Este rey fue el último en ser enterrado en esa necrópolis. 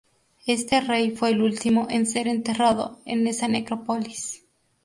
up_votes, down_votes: 4, 0